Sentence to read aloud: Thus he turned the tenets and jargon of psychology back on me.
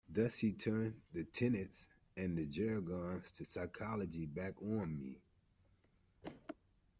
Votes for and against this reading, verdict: 1, 2, rejected